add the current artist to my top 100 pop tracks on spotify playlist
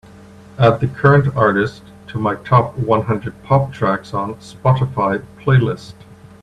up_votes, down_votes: 0, 2